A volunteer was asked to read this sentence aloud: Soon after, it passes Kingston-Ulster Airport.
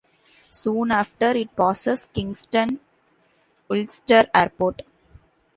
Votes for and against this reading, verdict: 2, 0, accepted